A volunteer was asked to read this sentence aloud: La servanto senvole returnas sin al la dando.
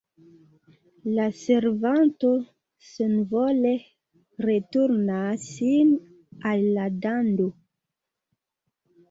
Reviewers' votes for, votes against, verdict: 2, 0, accepted